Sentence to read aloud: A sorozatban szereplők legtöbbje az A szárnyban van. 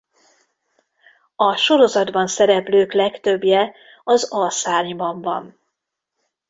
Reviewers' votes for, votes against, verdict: 2, 0, accepted